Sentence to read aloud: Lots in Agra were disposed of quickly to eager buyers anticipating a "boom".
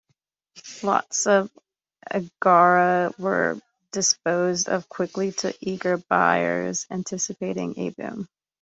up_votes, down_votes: 0, 2